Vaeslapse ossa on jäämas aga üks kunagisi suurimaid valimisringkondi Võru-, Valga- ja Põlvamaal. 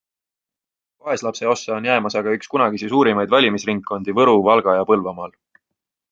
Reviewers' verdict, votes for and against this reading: accepted, 2, 0